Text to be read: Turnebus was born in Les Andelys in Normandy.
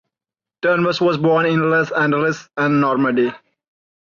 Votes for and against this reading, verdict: 1, 2, rejected